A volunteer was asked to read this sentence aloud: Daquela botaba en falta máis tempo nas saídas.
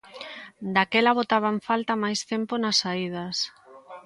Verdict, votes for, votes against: accepted, 2, 0